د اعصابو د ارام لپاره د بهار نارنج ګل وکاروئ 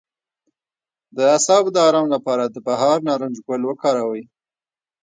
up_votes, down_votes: 1, 2